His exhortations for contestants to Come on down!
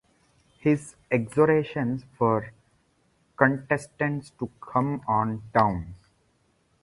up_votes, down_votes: 0, 2